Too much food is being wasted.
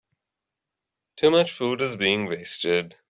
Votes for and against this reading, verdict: 2, 0, accepted